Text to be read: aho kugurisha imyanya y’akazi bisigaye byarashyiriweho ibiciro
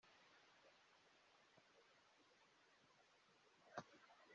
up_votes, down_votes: 0, 3